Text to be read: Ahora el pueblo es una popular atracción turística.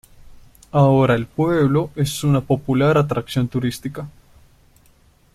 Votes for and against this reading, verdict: 2, 0, accepted